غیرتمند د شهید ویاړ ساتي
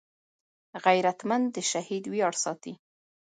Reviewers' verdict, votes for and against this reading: rejected, 0, 2